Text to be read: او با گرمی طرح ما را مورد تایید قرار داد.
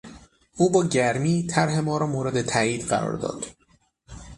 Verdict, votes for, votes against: accepted, 6, 0